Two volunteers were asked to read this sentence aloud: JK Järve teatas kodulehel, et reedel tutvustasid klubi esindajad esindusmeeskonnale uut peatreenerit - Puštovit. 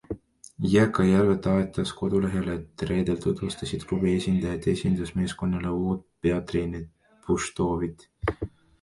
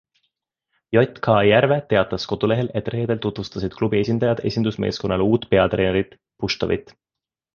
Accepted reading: second